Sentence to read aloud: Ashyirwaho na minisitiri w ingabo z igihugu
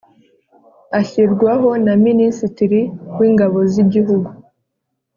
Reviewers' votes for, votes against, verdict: 2, 0, accepted